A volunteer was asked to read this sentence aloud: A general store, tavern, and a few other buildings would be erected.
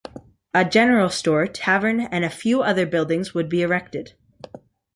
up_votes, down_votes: 2, 0